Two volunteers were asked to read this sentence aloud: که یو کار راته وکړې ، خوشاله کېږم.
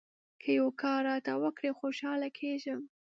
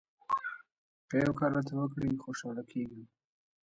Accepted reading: first